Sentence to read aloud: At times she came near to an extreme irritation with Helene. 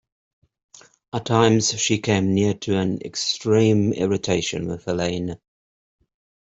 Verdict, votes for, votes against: accepted, 3, 0